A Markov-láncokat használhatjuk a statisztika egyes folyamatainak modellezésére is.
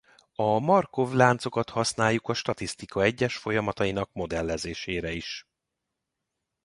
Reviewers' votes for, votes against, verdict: 0, 2, rejected